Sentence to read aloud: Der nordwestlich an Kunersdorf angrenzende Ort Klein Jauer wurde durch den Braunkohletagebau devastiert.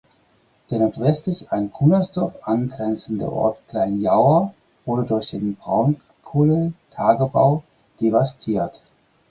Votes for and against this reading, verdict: 2, 4, rejected